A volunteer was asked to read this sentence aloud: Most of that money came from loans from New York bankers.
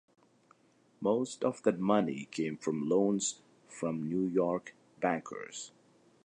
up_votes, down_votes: 2, 0